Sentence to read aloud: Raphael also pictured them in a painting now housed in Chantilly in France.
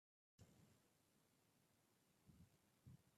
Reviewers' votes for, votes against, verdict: 0, 2, rejected